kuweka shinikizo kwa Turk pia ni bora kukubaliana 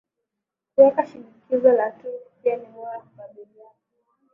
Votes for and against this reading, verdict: 0, 2, rejected